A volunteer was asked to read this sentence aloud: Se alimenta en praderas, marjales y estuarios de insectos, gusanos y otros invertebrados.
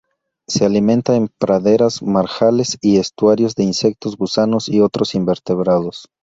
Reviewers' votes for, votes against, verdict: 2, 0, accepted